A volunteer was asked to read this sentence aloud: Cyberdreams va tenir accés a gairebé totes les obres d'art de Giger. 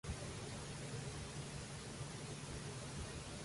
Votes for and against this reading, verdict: 0, 2, rejected